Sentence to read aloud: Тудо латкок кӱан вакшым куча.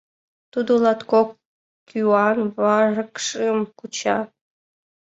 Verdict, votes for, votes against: rejected, 0, 2